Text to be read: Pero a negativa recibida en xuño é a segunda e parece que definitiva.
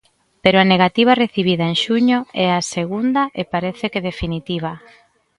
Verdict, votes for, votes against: accepted, 2, 0